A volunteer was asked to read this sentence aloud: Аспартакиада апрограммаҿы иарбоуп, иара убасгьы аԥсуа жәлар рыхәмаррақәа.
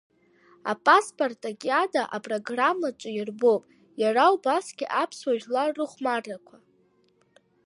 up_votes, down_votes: 0, 2